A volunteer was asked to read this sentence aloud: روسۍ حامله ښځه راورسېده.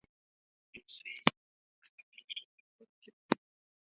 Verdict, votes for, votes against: rejected, 0, 2